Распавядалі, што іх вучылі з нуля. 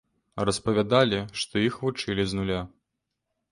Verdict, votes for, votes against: accepted, 2, 0